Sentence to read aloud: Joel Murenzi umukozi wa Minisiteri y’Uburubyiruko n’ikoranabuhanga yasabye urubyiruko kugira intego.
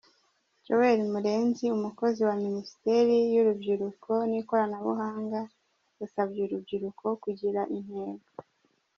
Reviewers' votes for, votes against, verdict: 0, 2, rejected